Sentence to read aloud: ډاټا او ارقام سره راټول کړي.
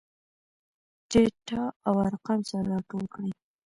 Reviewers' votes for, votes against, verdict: 2, 0, accepted